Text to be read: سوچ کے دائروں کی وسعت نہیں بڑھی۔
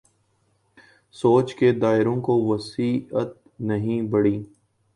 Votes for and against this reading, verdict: 0, 2, rejected